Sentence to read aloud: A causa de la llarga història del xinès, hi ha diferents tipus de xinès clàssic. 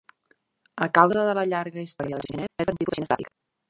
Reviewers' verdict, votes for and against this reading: rejected, 0, 2